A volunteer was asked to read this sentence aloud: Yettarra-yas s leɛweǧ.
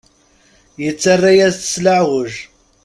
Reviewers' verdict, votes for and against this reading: accepted, 2, 0